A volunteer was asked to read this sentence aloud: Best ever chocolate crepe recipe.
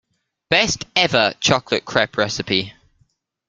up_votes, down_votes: 2, 0